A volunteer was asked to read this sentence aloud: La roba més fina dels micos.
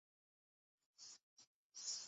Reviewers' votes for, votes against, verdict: 0, 2, rejected